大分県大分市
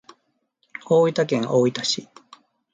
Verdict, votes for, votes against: accepted, 2, 0